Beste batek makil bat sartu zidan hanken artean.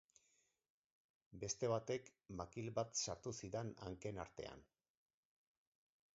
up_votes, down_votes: 4, 0